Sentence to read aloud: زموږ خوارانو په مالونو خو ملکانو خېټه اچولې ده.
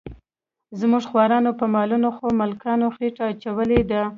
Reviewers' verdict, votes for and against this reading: rejected, 1, 2